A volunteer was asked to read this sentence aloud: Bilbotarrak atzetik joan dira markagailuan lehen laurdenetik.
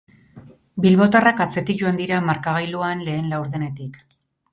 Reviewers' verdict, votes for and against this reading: rejected, 2, 2